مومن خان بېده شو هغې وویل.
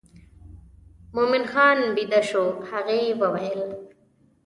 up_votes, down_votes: 2, 0